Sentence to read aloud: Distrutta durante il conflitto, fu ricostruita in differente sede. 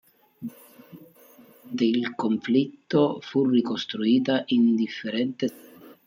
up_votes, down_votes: 0, 2